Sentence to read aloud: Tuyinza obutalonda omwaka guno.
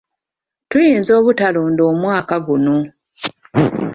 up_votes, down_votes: 2, 1